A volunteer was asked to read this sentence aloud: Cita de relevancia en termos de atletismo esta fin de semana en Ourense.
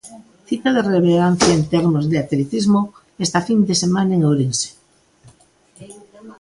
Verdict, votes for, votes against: accepted, 2, 1